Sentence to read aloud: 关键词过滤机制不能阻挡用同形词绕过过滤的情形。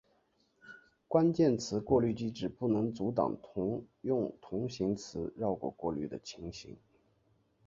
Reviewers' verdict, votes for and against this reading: accepted, 2, 1